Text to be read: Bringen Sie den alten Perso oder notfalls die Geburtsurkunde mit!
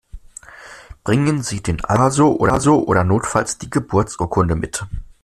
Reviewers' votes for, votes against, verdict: 0, 2, rejected